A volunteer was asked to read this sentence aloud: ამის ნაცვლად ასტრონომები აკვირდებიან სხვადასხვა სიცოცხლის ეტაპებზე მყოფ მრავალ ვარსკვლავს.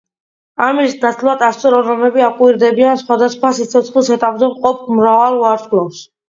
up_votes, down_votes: 1, 2